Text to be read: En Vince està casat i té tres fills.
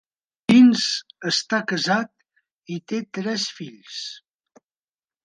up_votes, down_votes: 0, 2